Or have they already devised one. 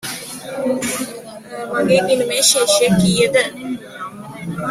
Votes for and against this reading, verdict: 0, 2, rejected